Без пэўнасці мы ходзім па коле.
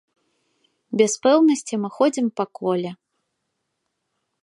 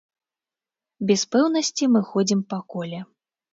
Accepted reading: first